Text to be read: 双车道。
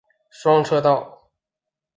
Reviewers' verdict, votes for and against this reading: accepted, 5, 0